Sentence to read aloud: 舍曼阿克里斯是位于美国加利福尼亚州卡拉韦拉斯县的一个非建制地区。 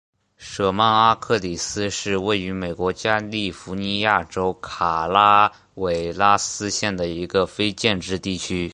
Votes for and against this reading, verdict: 3, 0, accepted